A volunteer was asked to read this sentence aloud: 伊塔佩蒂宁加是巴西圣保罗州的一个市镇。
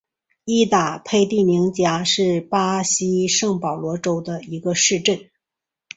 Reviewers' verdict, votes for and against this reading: accepted, 2, 0